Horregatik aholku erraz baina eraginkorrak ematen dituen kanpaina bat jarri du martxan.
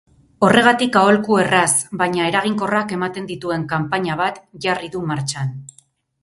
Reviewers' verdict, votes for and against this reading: accepted, 10, 0